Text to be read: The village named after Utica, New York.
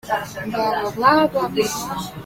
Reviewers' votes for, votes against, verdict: 0, 2, rejected